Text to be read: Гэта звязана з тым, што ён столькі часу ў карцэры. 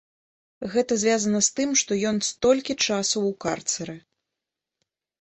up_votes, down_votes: 2, 0